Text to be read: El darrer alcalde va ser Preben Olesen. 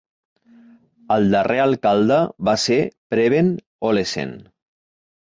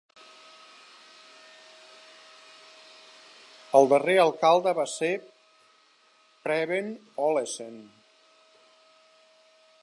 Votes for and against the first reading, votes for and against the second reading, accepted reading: 3, 0, 1, 2, first